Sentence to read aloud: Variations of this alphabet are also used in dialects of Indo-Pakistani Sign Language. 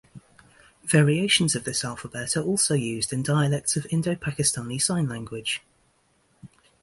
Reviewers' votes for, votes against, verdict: 2, 0, accepted